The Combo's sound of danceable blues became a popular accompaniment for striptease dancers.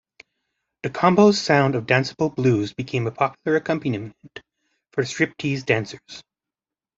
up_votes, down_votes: 1, 2